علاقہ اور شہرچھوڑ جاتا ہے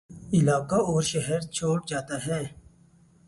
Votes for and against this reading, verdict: 6, 2, accepted